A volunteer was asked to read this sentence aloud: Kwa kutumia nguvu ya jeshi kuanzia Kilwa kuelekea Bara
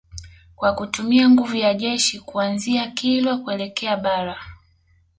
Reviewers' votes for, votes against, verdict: 2, 0, accepted